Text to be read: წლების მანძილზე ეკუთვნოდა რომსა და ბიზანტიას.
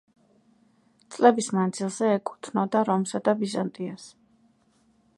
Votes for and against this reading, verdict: 2, 1, accepted